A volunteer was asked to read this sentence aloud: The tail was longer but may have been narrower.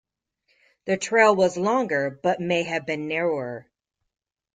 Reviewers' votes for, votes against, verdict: 1, 2, rejected